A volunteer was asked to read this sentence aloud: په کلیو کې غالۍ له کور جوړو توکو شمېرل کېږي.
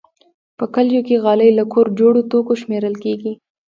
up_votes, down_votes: 2, 1